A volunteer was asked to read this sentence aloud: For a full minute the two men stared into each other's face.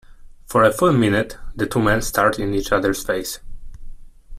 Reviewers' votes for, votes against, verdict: 2, 0, accepted